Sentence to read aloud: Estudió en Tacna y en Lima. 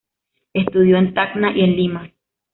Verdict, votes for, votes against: accepted, 2, 0